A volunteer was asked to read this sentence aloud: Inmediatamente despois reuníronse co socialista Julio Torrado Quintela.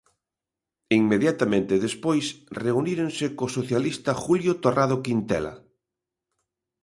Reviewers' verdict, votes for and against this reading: accepted, 2, 0